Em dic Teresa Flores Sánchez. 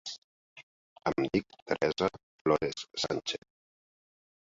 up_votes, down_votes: 0, 2